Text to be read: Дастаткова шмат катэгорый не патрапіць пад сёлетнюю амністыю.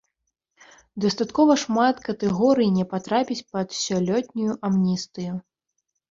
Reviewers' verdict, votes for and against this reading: rejected, 0, 2